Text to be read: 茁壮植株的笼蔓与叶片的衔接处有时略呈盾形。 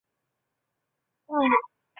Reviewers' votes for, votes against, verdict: 0, 2, rejected